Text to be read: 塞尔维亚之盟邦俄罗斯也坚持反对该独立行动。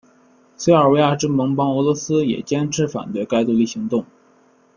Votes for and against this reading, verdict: 0, 2, rejected